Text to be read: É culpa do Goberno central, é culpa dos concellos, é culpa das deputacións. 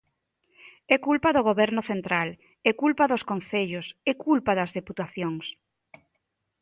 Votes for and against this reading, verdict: 2, 0, accepted